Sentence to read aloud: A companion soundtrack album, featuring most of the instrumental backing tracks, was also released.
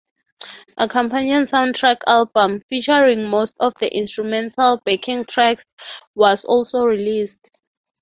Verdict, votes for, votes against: accepted, 6, 3